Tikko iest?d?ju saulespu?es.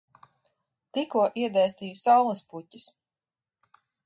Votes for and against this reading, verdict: 0, 2, rejected